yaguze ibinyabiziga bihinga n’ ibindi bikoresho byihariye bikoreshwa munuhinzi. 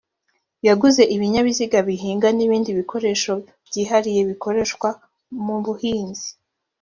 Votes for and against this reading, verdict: 1, 2, rejected